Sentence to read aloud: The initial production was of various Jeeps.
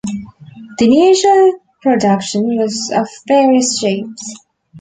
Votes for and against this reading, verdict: 2, 1, accepted